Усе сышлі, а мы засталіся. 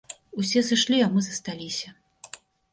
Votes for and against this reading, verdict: 2, 0, accepted